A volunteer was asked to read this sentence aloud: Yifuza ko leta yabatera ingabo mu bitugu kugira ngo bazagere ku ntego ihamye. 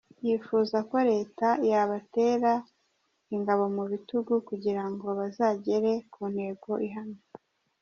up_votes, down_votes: 2, 0